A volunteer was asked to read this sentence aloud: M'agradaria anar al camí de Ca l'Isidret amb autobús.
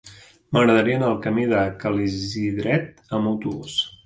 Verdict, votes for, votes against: rejected, 1, 2